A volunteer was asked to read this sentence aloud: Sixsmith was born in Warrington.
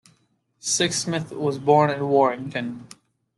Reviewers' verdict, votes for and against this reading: accepted, 2, 0